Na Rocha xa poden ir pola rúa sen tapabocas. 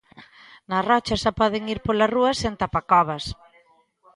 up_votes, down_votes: 0, 2